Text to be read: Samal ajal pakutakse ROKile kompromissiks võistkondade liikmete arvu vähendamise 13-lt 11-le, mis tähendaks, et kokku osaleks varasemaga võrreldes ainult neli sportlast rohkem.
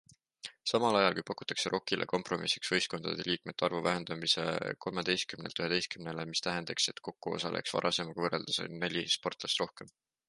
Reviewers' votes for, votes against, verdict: 0, 2, rejected